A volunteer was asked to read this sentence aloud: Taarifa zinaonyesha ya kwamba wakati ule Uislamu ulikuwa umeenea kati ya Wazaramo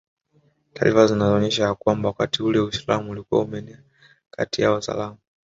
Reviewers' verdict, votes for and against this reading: accepted, 3, 1